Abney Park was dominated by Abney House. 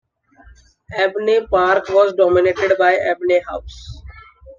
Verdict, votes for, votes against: rejected, 1, 2